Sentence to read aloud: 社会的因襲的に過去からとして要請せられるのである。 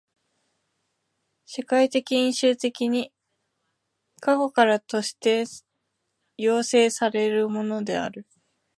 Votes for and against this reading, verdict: 0, 2, rejected